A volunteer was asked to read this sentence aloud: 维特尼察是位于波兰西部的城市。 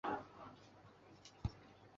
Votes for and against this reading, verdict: 0, 3, rejected